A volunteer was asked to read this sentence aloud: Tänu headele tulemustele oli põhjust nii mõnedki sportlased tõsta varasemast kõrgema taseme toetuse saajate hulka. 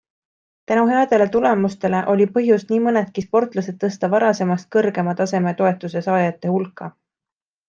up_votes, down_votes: 2, 0